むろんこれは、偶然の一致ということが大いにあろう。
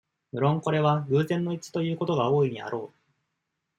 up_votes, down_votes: 2, 0